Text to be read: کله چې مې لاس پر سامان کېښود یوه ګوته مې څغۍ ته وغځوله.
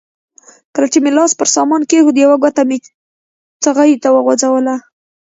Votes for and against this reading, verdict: 1, 2, rejected